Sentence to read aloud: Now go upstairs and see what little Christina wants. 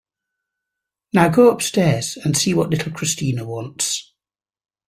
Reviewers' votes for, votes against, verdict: 4, 0, accepted